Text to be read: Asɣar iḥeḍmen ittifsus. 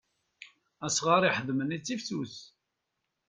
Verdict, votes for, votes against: accepted, 2, 0